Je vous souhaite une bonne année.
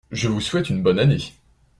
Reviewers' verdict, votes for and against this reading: accepted, 2, 0